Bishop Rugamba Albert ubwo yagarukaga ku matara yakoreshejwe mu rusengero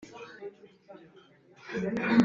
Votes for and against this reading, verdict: 0, 2, rejected